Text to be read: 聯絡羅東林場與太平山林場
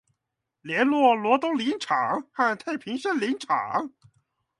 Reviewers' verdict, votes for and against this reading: rejected, 0, 2